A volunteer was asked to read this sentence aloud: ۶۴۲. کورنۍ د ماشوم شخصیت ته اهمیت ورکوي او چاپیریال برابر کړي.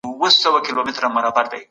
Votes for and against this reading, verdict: 0, 2, rejected